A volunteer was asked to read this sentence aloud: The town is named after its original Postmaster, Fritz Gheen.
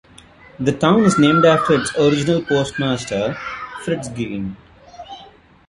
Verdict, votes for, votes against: rejected, 1, 2